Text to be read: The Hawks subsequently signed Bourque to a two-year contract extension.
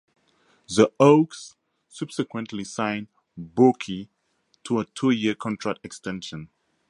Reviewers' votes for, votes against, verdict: 4, 0, accepted